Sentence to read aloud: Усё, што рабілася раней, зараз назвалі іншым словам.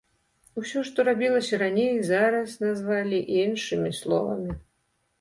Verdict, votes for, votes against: rejected, 0, 2